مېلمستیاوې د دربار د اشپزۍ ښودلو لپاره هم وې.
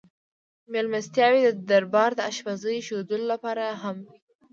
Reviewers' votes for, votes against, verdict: 0, 2, rejected